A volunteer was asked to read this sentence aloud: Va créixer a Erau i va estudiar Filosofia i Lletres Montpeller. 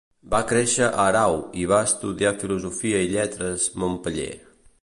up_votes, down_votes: 2, 0